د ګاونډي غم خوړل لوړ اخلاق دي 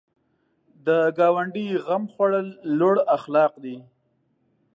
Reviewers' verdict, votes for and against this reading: accepted, 2, 0